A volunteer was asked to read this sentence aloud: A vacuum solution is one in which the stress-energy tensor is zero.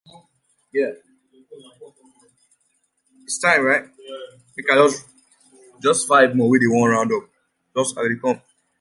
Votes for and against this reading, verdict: 0, 2, rejected